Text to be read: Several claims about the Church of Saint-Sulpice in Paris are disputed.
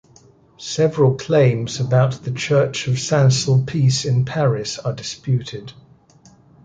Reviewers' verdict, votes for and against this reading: accepted, 2, 0